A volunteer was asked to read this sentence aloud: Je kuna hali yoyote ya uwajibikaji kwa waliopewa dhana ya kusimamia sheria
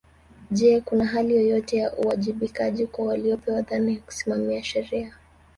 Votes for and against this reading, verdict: 2, 1, accepted